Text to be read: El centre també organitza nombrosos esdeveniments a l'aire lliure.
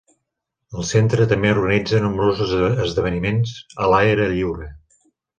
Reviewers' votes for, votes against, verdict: 3, 5, rejected